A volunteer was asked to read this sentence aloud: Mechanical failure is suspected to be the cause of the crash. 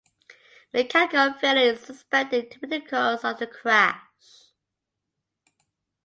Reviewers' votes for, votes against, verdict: 2, 1, accepted